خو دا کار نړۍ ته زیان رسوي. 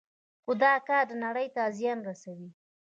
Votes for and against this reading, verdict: 1, 2, rejected